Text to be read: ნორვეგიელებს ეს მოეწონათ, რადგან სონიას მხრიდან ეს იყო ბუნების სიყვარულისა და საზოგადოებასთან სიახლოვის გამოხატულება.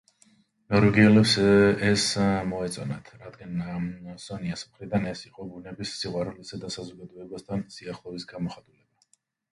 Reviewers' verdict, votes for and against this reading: rejected, 0, 2